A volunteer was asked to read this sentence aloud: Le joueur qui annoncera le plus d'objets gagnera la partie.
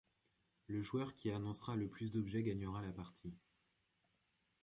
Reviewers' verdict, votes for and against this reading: accepted, 2, 1